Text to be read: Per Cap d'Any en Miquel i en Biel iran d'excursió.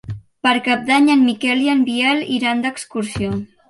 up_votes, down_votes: 3, 0